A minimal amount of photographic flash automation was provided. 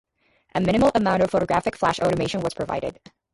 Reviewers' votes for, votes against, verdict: 2, 2, rejected